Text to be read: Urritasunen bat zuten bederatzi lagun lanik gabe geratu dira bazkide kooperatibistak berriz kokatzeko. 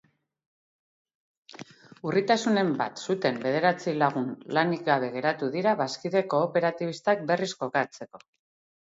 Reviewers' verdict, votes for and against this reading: accepted, 4, 0